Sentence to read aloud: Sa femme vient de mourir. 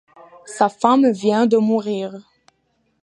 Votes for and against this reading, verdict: 2, 0, accepted